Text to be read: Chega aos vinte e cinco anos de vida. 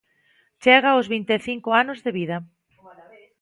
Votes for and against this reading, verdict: 2, 1, accepted